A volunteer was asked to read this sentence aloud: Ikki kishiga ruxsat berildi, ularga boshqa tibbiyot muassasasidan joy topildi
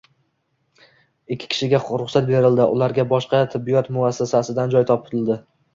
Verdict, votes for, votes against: rejected, 1, 2